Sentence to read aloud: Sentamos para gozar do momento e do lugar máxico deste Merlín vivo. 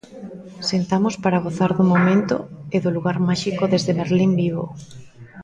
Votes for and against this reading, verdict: 2, 1, accepted